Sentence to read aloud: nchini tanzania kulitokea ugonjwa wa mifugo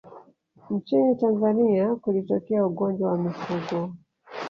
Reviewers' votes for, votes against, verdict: 0, 2, rejected